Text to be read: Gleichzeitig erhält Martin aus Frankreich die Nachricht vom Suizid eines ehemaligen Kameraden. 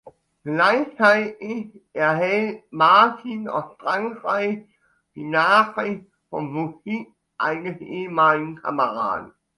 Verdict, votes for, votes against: rejected, 1, 2